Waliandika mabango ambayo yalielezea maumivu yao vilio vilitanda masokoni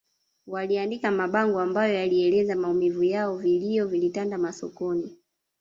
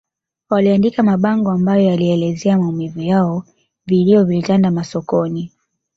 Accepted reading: second